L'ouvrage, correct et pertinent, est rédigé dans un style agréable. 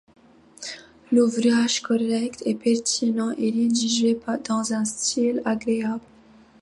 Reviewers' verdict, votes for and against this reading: accepted, 2, 0